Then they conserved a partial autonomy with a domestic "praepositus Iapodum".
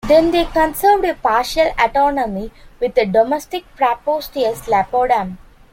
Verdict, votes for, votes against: accepted, 2, 0